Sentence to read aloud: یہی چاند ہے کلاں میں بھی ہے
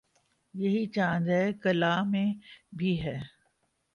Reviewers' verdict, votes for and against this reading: accepted, 2, 1